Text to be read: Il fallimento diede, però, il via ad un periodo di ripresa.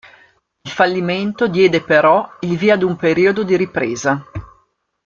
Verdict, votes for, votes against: accepted, 2, 0